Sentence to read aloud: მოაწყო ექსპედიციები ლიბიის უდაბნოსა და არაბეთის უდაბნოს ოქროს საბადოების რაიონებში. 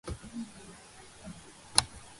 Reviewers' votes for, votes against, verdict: 0, 3, rejected